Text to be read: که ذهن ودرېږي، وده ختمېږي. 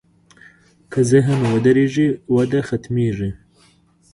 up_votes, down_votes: 3, 1